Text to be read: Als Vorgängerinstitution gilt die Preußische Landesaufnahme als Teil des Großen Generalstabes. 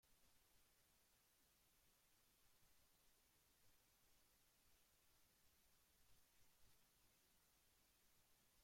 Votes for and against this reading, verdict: 0, 2, rejected